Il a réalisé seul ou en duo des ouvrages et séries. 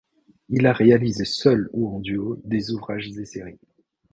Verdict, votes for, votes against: rejected, 0, 2